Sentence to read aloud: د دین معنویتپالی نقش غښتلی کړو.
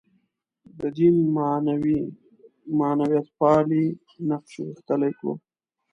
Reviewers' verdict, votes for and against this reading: rejected, 1, 2